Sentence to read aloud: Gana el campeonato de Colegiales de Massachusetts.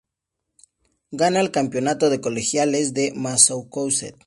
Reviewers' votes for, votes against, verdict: 2, 0, accepted